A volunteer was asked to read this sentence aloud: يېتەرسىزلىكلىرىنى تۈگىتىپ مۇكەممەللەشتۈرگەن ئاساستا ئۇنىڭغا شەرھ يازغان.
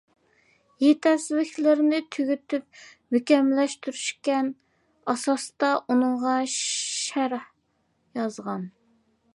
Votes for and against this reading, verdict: 0, 2, rejected